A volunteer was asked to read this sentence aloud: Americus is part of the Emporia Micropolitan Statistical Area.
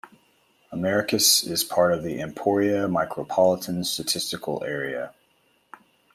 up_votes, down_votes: 1, 2